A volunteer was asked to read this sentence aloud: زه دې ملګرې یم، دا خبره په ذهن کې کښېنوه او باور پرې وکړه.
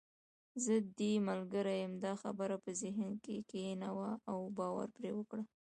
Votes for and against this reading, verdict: 0, 2, rejected